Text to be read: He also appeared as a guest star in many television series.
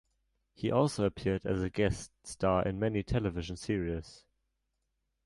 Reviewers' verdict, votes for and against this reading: accepted, 2, 0